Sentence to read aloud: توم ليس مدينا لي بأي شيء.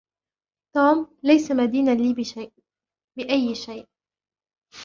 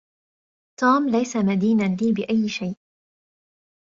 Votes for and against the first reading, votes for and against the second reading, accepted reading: 1, 2, 2, 0, second